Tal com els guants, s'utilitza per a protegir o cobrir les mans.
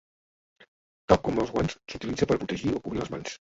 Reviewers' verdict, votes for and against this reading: rejected, 0, 2